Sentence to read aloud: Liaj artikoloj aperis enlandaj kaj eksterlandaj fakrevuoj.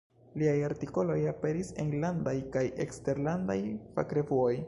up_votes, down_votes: 2, 0